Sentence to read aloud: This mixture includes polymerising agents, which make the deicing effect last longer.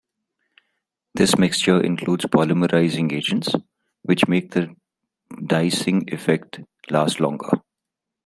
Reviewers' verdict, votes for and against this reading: accepted, 2, 0